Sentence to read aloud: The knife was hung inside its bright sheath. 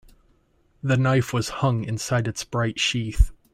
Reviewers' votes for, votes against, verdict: 2, 0, accepted